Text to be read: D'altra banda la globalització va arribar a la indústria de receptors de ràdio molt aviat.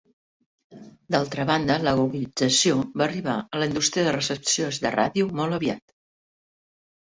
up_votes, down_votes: 1, 2